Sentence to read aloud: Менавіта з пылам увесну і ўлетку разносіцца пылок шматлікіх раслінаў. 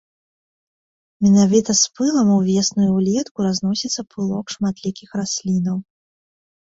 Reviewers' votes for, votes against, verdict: 2, 0, accepted